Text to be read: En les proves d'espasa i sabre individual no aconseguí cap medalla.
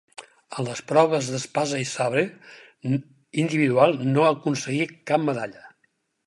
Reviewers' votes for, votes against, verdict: 0, 4, rejected